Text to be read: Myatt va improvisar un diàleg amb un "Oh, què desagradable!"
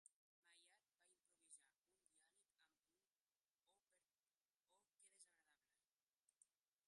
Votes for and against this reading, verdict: 0, 3, rejected